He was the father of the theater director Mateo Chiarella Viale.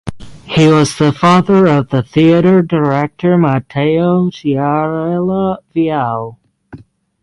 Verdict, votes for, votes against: rejected, 3, 3